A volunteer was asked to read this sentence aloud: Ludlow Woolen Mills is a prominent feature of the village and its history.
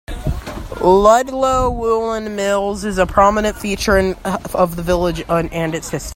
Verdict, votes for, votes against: rejected, 0, 2